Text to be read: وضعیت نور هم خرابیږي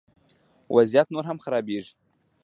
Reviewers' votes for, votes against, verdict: 2, 0, accepted